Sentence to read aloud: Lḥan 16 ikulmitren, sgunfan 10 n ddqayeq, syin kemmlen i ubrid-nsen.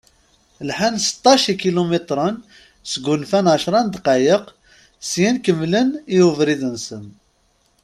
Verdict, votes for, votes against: rejected, 0, 2